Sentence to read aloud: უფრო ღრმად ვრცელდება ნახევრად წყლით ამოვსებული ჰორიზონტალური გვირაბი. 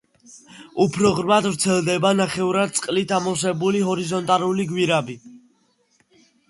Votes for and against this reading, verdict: 2, 0, accepted